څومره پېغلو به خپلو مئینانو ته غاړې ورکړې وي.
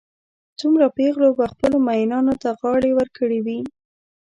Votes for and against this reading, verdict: 2, 0, accepted